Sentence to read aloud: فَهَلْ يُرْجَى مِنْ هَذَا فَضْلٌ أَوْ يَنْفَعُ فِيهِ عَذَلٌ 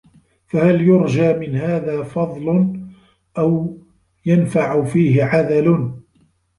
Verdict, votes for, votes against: rejected, 2, 3